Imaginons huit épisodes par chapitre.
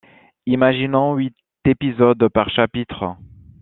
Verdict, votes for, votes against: accepted, 2, 0